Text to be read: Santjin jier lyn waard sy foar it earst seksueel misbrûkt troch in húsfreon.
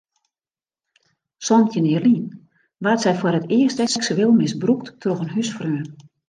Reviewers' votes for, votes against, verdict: 0, 2, rejected